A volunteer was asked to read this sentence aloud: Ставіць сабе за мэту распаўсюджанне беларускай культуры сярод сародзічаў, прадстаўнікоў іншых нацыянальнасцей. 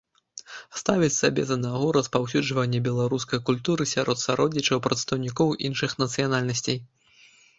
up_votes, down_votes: 0, 2